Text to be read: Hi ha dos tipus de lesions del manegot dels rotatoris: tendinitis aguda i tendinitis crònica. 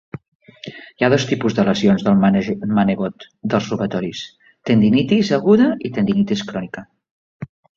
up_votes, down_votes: 2, 3